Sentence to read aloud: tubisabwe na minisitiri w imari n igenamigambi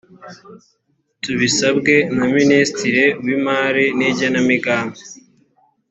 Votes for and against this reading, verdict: 2, 0, accepted